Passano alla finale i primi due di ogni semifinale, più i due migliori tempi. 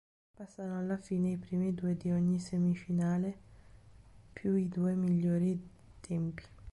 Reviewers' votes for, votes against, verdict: 0, 3, rejected